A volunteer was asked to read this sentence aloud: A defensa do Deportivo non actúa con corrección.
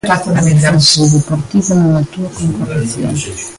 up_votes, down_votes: 1, 2